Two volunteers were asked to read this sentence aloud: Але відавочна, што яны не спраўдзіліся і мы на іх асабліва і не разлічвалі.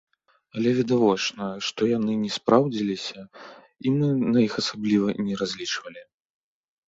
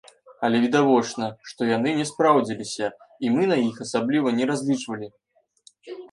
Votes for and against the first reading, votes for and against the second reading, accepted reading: 2, 0, 0, 2, first